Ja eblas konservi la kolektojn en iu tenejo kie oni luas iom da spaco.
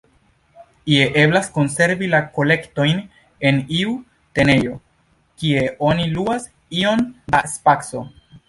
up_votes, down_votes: 1, 2